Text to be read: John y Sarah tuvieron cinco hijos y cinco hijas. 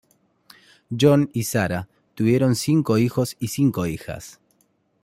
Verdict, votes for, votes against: accepted, 2, 0